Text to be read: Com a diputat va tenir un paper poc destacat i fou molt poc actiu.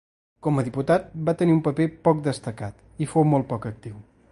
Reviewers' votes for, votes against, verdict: 2, 0, accepted